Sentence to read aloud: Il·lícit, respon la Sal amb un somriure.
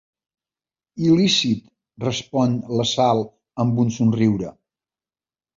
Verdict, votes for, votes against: accepted, 2, 0